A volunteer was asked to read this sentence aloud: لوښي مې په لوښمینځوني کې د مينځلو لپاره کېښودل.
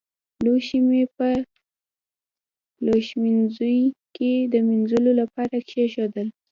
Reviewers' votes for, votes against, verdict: 1, 2, rejected